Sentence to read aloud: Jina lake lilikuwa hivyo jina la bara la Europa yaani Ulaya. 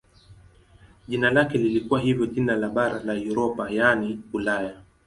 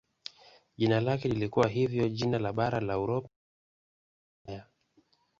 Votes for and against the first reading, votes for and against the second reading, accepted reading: 2, 0, 1, 2, first